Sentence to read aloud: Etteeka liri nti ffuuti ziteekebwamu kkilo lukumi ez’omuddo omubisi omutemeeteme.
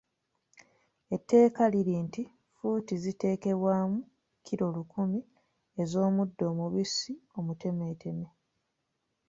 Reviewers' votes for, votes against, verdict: 2, 0, accepted